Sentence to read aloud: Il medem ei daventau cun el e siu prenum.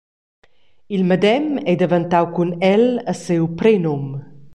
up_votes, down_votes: 2, 0